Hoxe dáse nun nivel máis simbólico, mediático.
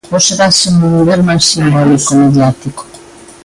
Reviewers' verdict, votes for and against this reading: accepted, 2, 1